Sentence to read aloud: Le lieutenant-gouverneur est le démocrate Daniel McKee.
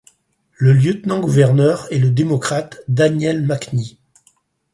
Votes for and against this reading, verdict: 4, 2, accepted